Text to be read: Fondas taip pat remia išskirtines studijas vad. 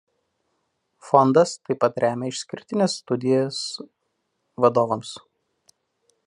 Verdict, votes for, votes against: rejected, 1, 2